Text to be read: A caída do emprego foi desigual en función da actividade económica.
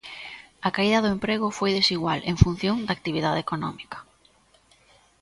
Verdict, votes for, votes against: accepted, 2, 0